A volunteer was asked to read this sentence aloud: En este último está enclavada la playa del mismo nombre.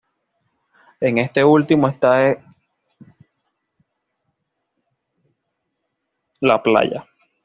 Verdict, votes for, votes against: rejected, 1, 2